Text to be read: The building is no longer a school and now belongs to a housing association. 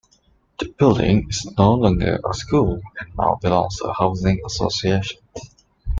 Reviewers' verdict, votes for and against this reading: accepted, 2, 0